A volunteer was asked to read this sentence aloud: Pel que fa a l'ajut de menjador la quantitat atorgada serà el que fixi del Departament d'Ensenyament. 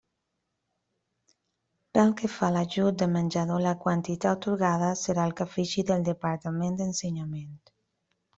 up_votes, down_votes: 1, 2